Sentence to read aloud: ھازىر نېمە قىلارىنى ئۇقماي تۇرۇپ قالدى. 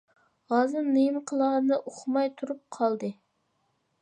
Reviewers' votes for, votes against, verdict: 2, 0, accepted